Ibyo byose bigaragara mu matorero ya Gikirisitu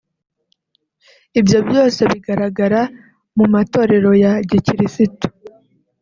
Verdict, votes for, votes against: accepted, 2, 0